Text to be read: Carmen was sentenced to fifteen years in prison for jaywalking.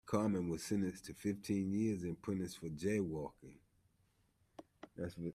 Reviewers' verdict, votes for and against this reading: rejected, 1, 2